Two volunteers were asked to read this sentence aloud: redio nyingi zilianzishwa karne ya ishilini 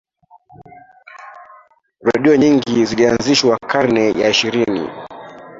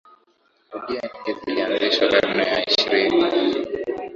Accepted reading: second